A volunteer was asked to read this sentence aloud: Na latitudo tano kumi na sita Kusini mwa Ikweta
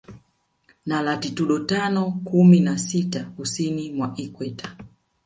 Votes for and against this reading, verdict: 1, 2, rejected